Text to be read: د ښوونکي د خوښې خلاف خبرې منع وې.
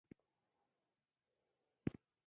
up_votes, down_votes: 0, 2